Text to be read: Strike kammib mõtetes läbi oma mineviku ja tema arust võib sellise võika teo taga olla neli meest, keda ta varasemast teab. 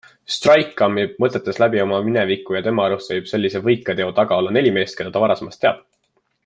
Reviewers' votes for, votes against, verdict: 2, 0, accepted